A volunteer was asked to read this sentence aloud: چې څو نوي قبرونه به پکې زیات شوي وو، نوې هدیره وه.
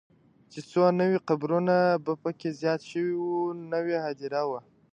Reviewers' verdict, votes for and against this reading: rejected, 1, 2